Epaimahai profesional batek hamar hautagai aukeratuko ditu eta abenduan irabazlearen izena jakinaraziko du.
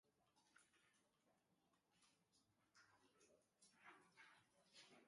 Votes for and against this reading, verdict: 0, 3, rejected